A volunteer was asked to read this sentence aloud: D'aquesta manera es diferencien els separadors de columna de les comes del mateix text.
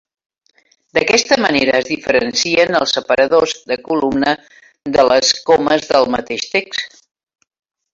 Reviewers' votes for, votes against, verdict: 1, 2, rejected